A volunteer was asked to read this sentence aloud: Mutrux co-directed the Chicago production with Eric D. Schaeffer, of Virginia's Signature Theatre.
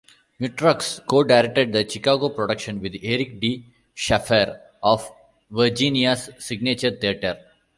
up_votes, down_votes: 0, 2